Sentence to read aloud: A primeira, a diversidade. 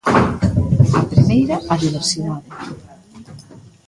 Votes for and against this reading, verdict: 1, 2, rejected